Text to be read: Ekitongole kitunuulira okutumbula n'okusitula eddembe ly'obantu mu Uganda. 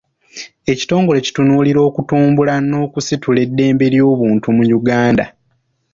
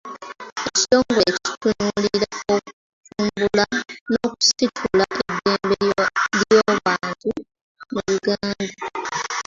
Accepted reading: first